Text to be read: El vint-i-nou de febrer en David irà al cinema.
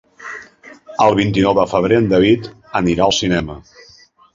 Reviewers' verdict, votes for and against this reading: rejected, 1, 2